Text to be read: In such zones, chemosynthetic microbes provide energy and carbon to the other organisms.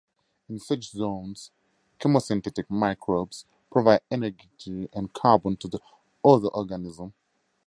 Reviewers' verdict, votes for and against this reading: accepted, 4, 2